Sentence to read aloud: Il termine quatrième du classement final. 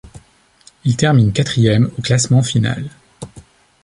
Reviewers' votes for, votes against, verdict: 1, 2, rejected